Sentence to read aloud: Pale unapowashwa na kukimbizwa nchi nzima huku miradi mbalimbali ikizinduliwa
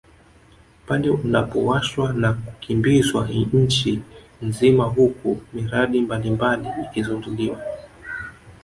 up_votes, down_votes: 1, 2